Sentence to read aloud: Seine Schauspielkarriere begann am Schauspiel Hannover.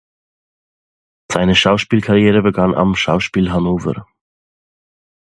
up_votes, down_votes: 2, 0